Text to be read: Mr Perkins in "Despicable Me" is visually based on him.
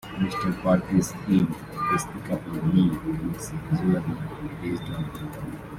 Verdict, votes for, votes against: rejected, 1, 2